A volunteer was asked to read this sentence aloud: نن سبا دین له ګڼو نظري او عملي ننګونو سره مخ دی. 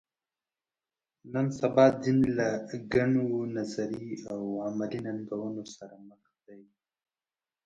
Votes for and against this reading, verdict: 0, 2, rejected